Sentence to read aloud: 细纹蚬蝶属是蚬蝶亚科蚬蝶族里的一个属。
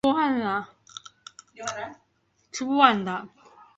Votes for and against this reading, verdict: 2, 0, accepted